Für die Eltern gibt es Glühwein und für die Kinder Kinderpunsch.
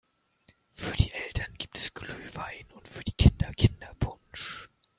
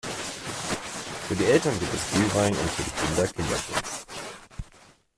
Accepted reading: first